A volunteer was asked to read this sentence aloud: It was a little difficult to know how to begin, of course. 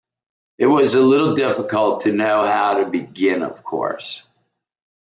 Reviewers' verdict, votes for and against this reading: accepted, 2, 0